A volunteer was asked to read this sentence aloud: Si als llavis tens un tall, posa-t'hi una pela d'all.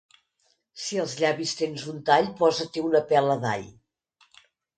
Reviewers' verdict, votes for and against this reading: accepted, 2, 0